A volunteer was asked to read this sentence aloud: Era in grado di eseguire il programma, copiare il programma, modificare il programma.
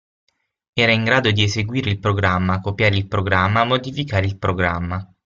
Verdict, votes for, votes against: accepted, 6, 0